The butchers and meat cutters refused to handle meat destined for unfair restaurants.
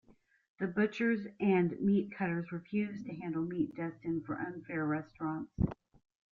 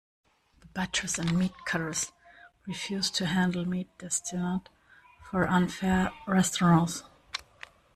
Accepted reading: first